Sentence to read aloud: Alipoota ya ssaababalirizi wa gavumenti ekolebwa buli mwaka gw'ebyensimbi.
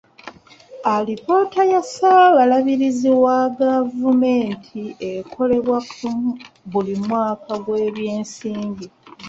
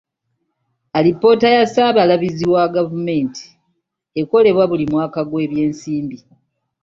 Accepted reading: second